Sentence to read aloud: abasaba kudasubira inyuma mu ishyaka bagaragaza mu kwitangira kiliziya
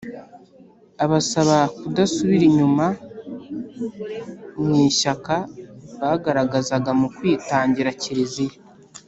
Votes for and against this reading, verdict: 3, 1, accepted